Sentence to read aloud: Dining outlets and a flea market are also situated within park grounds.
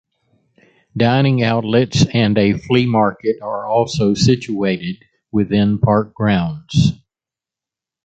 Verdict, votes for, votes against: accepted, 2, 0